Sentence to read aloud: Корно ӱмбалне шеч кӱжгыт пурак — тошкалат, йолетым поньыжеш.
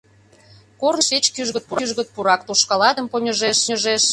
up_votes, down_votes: 0, 2